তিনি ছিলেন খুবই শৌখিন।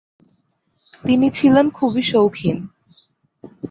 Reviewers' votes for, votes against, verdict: 2, 0, accepted